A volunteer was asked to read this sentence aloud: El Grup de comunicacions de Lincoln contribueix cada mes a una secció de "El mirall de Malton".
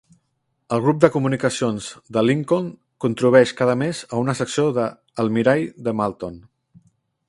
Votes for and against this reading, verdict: 1, 2, rejected